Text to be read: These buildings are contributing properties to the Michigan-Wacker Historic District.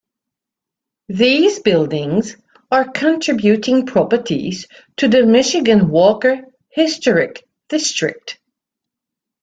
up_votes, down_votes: 0, 2